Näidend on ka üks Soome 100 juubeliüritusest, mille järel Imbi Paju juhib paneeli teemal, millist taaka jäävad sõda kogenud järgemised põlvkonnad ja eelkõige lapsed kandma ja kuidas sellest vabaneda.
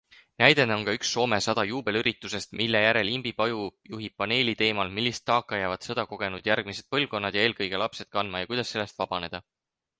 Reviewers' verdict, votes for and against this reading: rejected, 0, 2